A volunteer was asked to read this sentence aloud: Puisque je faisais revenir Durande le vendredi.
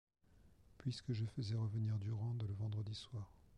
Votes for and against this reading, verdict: 0, 2, rejected